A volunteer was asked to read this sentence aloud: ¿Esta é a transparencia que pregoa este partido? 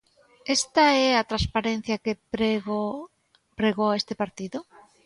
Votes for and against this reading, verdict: 0, 2, rejected